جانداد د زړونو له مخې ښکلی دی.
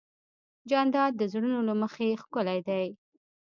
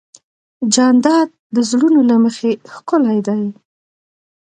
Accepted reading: second